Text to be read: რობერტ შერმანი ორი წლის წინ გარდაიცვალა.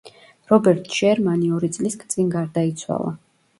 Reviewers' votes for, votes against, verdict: 1, 2, rejected